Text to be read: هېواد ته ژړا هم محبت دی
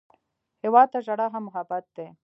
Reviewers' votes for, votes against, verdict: 1, 2, rejected